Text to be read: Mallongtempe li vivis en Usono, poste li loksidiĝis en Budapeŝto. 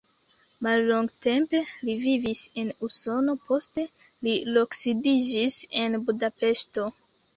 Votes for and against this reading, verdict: 0, 2, rejected